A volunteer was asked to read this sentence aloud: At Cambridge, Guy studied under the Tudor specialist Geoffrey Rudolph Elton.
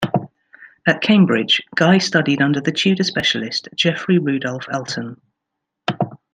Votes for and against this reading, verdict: 2, 0, accepted